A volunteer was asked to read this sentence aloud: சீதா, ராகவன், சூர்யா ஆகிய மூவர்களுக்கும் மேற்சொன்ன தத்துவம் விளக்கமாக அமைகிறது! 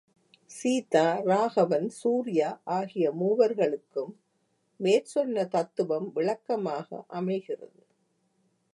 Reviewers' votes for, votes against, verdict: 2, 0, accepted